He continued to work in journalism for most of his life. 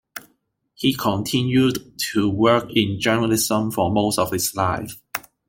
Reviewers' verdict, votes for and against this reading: accepted, 2, 0